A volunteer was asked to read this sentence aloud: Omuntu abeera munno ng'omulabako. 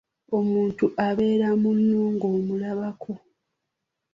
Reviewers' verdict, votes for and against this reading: accepted, 2, 0